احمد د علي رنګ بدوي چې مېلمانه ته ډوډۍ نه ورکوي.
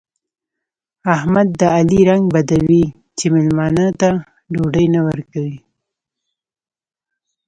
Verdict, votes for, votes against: rejected, 1, 2